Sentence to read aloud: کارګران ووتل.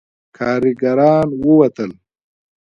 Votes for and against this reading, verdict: 0, 2, rejected